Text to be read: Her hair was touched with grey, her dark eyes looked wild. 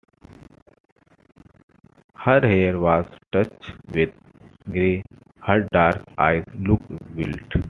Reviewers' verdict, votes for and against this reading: accepted, 2, 1